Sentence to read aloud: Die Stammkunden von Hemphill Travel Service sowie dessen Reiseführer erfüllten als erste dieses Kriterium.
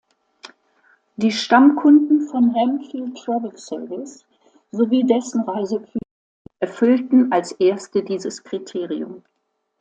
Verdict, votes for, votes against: rejected, 1, 2